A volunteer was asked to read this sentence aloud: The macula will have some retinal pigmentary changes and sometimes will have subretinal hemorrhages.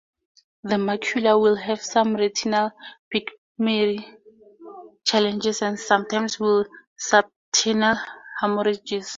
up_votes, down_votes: 0, 4